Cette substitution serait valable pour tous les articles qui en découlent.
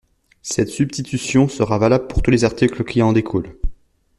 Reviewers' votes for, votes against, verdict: 1, 2, rejected